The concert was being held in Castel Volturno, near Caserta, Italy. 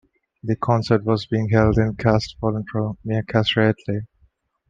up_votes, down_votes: 1, 2